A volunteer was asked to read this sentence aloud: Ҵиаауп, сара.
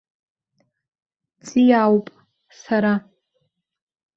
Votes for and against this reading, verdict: 2, 0, accepted